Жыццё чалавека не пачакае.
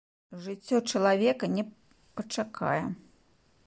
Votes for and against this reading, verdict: 1, 2, rejected